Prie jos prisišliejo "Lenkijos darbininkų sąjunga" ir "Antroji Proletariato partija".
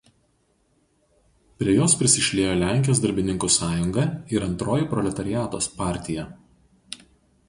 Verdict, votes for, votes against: rejected, 0, 2